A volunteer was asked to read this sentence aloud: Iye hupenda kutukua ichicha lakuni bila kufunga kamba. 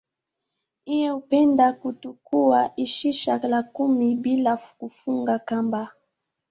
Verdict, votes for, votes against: accepted, 5, 0